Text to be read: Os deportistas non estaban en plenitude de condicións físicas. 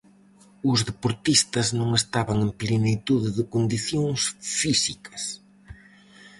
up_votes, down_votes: 4, 0